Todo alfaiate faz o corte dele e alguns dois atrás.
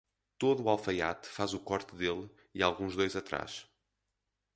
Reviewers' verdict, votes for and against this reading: accepted, 4, 0